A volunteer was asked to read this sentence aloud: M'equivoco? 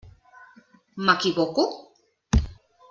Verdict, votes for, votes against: accepted, 3, 0